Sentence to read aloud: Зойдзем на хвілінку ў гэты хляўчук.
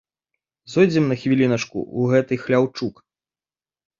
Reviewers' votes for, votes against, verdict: 0, 2, rejected